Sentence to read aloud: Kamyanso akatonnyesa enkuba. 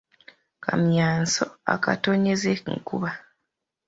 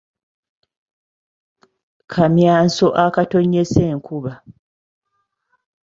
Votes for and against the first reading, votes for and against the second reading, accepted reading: 0, 2, 2, 0, second